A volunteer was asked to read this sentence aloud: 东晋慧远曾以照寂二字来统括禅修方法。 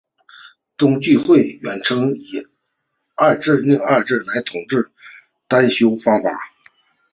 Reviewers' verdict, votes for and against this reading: rejected, 1, 3